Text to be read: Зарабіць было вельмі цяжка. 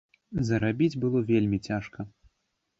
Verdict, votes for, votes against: accepted, 2, 0